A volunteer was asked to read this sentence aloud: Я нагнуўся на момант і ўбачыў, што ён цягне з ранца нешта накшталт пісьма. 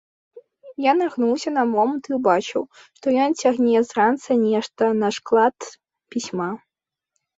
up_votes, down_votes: 0, 2